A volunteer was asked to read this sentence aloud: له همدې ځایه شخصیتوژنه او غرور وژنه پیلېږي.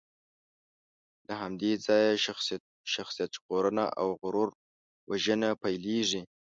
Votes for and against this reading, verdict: 1, 2, rejected